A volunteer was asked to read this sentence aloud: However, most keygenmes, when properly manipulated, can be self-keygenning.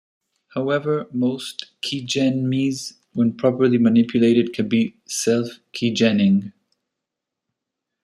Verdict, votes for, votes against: rejected, 1, 2